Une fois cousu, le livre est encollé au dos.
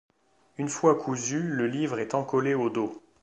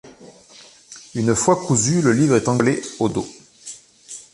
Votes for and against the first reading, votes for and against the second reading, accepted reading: 2, 0, 1, 2, first